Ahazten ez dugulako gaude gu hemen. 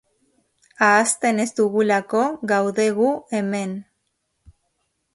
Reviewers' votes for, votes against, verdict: 3, 0, accepted